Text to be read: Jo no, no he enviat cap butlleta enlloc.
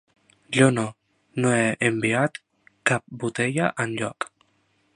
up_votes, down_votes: 1, 2